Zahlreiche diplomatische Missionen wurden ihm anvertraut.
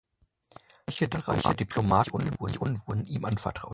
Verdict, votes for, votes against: rejected, 0, 2